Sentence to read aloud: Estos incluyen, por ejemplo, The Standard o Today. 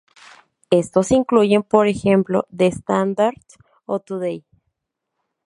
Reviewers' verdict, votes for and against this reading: rejected, 0, 2